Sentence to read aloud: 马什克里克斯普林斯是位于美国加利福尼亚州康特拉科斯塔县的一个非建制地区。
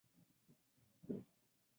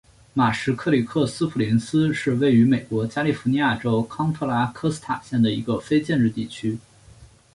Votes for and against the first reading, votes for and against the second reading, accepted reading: 0, 6, 5, 0, second